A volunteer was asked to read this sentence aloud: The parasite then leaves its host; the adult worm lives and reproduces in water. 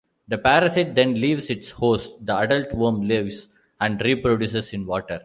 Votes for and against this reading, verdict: 3, 0, accepted